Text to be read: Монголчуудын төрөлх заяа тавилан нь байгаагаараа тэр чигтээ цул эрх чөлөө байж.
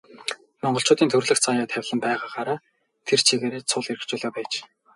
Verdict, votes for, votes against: accepted, 2, 0